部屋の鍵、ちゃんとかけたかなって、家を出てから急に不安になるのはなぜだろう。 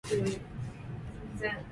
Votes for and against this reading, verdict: 0, 2, rejected